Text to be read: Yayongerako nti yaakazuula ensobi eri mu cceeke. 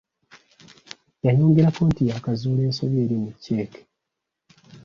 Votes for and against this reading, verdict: 2, 0, accepted